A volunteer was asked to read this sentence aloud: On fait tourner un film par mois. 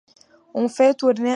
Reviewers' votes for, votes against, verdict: 0, 2, rejected